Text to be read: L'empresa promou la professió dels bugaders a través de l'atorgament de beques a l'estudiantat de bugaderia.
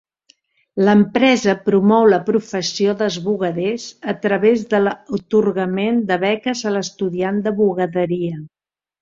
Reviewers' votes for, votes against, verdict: 0, 2, rejected